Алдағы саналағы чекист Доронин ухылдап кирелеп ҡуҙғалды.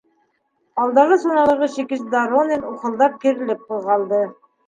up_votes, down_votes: 0, 2